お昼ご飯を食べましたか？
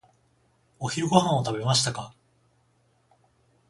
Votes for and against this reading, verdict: 14, 0, accepted